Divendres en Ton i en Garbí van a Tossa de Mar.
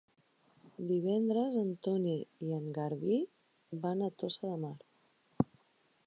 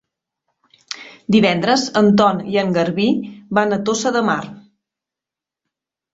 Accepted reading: second